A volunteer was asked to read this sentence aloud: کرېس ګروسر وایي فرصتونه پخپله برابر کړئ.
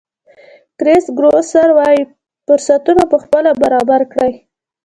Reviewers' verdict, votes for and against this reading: accepted, 2, 0